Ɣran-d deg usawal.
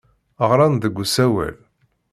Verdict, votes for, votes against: accepted, 2, 0